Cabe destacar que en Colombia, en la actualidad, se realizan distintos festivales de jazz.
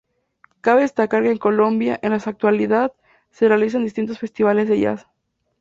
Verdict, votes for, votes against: rejected, 2, 2